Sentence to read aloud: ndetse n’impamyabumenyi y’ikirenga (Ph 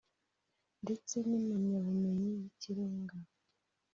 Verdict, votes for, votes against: rejected, 0, 2